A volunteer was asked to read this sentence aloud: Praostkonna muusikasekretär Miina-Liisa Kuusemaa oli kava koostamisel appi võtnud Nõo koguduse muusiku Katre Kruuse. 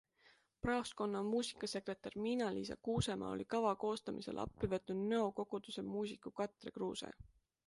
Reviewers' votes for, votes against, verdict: 2, 0, accepted